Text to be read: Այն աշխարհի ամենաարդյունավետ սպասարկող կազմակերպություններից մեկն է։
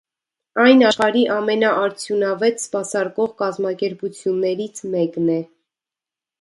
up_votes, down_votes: 2, 0